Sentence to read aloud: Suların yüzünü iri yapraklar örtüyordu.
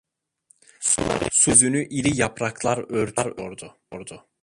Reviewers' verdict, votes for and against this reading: rejected, 0, 2